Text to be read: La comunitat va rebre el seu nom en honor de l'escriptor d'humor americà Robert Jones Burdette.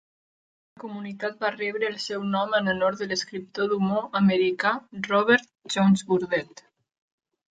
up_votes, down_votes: 1, 2